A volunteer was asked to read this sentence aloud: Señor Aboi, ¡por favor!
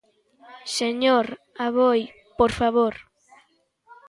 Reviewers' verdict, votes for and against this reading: accepted, 2, 0